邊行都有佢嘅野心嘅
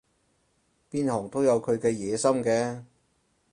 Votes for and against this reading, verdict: 4, 0, accepted